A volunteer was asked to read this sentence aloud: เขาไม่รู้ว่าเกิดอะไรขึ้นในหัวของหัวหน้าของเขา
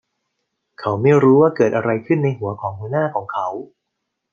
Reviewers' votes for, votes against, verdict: 2, 0, accepted